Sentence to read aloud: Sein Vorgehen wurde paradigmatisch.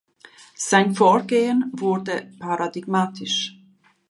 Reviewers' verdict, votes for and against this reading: accepted, 2, 0